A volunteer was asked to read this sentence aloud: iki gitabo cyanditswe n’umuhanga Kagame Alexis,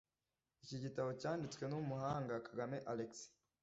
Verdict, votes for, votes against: accepted, 2, 0